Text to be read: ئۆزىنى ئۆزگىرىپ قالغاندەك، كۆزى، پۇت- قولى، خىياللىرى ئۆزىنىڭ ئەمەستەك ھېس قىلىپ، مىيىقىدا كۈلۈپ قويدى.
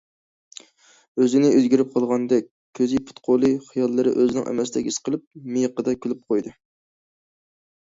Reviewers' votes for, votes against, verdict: 2, 0, accepted